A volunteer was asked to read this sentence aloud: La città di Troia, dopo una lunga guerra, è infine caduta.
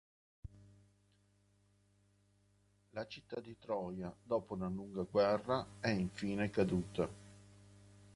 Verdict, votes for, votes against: rejected, 2, 3